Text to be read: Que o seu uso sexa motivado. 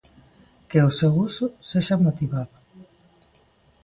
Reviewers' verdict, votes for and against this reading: accepted, 2, 0